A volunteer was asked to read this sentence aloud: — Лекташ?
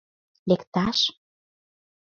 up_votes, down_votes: 2, 0